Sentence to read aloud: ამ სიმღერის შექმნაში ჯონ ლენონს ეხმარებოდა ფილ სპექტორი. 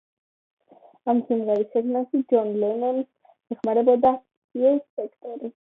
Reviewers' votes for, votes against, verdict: 0, 2, rejected